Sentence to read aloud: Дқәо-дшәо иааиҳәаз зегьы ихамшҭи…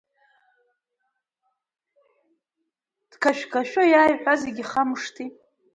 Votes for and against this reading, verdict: 1, 2, rejected